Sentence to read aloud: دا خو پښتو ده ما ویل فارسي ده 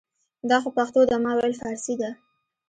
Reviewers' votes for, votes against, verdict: 1, 2, rejected